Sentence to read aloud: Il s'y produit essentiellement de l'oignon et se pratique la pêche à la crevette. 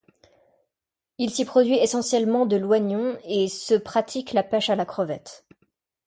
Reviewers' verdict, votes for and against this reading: rejected, 0, 2